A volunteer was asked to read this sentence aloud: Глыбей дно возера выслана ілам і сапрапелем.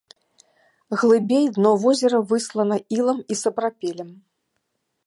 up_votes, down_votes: 2, 0